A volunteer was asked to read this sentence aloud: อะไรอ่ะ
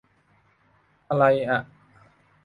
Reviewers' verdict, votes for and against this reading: accepted, 2, 0